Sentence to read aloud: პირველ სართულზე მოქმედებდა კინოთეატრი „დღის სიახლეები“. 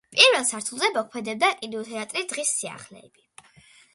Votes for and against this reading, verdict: 2, 0, accepted